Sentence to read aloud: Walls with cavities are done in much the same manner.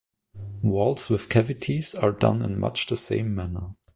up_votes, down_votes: 2, 0